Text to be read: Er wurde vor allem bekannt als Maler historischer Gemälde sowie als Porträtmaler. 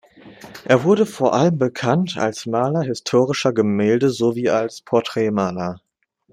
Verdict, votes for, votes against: accepted, 2, 0